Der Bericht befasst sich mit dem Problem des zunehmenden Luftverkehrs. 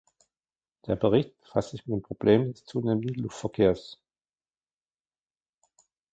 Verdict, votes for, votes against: rejected, 1, 2